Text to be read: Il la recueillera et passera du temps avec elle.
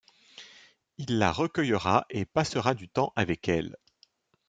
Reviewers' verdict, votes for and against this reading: accepted, 2, 0